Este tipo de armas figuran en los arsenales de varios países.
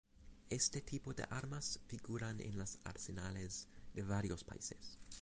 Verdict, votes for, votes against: accepted, 2, 0